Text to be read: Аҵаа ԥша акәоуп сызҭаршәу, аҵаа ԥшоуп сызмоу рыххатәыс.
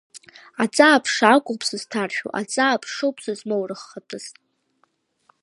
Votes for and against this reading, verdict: 1, 2, rejected